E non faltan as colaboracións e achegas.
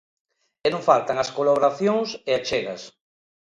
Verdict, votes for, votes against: accepted, 2, 0